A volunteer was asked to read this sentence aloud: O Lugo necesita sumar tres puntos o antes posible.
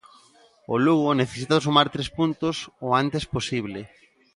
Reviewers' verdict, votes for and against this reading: accepted, 2, 0